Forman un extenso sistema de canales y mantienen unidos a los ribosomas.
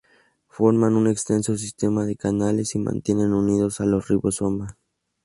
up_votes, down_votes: 2, 0